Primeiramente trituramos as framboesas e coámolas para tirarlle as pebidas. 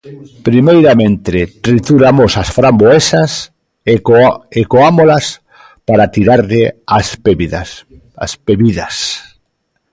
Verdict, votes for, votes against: rejected, 0, 2